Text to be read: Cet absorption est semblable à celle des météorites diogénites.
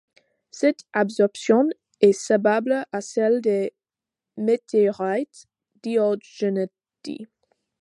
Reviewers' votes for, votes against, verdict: 2, 1, accepted